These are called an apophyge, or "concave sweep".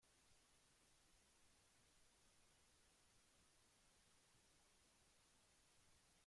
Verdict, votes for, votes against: rejected, 0, 2